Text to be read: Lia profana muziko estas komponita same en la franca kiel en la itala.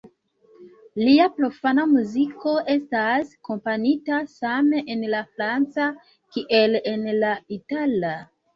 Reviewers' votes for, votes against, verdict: 0, 2, rejected